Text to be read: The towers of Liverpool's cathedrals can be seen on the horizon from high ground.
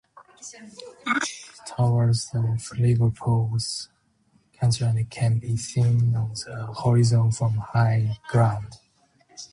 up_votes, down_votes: 0, 2